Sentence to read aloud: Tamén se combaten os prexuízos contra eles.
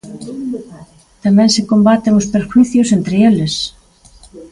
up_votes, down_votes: 0, 2